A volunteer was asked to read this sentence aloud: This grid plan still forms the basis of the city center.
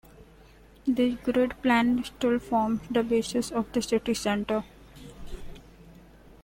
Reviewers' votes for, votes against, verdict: 4, 3, accepted